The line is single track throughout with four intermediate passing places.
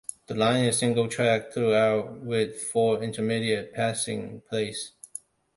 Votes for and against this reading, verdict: 1, 2, rejected